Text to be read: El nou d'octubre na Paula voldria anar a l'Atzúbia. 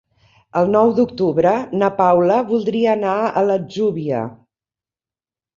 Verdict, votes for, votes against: accepted, 2, 0